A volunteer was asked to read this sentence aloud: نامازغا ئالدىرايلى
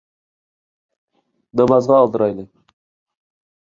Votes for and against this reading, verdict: 2, 0, accepted